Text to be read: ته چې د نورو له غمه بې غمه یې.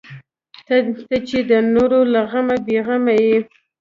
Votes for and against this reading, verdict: 2, 1, accepted